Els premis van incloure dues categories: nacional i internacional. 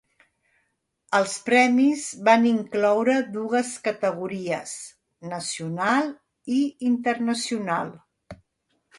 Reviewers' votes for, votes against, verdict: 2, 1, accepted